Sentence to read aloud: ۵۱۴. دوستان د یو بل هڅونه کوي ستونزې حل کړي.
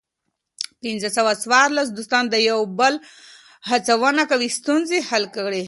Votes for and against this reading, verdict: 0, 2, rejected